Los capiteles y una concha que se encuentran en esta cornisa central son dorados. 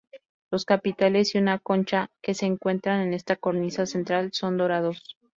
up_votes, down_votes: 2, 0